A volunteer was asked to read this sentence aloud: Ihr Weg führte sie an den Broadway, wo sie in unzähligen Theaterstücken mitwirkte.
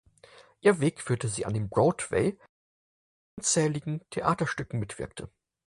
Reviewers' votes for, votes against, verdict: 0, 4, rejected